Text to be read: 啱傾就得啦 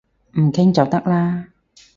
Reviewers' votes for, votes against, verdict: 0, 4, rejected